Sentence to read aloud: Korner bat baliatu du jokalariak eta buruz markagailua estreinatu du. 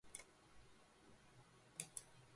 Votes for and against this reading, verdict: 0, 3, rejected